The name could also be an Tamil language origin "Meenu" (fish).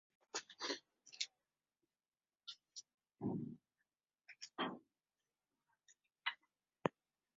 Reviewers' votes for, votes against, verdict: 1, 2, rejected